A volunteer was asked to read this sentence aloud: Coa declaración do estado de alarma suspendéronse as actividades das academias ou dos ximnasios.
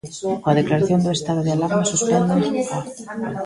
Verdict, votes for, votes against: rejected, 0, 2